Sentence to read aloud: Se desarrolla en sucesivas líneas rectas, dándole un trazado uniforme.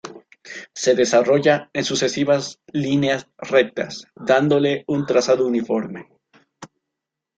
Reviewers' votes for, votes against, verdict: 2, 0, accepted